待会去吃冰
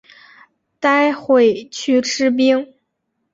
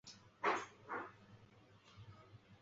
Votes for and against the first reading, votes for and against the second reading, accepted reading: 5, 0, 1, 3, first